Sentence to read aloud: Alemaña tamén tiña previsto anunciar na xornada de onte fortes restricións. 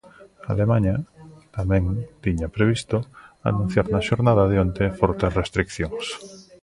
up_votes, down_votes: 0, 2